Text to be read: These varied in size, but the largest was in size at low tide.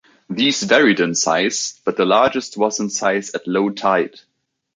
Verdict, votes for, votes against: accepted, 3, 0